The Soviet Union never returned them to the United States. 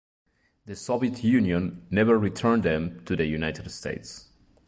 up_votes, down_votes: 2, 0